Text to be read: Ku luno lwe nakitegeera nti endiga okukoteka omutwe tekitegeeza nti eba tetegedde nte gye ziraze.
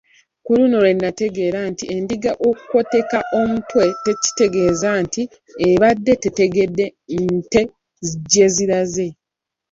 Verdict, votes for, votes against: rejected, 1, 2